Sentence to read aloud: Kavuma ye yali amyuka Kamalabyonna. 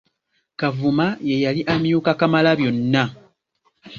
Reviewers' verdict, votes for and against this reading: accepted, 3, 0